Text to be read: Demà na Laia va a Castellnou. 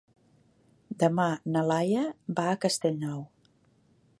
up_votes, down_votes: 4, 0